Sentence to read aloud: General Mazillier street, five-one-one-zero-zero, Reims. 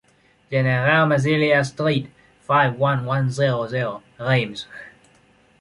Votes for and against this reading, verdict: 0, 2, rejected